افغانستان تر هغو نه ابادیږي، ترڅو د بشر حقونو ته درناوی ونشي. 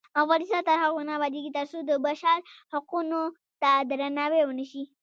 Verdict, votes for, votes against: rejected, 1, 2